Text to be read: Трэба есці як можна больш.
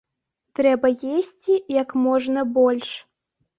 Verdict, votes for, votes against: accepted, 2, 1